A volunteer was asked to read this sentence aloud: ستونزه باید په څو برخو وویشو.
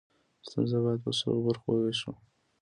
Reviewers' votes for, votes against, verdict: 2, 0, accepted